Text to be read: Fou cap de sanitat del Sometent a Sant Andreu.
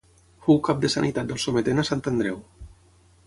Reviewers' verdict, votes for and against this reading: accepted, 6, 0